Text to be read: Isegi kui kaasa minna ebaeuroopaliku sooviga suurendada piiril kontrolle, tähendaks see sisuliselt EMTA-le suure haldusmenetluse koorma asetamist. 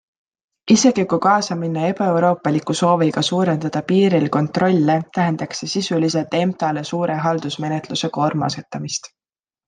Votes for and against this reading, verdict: 2, 0, accepted